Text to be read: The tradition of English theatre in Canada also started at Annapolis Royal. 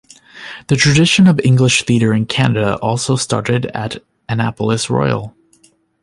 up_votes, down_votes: 2, 0